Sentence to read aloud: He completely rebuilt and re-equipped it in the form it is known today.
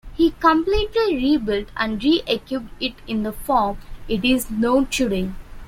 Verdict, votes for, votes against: accepted, 2, 0